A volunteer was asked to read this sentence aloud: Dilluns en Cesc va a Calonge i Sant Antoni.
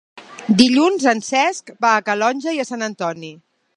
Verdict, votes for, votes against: rejected, 1, 2